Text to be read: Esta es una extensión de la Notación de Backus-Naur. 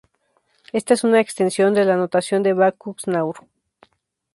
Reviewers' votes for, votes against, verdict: 4, 0, accepted